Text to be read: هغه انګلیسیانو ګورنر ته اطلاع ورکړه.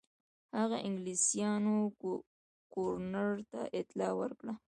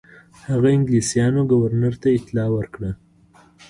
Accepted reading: first